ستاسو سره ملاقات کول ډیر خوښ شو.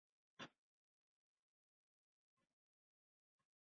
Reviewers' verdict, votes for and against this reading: rejected, 1, 2